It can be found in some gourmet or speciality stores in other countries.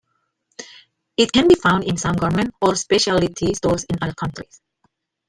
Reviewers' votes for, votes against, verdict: 2, 1, accepted